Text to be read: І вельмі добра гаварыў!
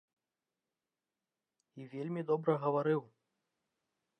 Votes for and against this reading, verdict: 2, 0, accepted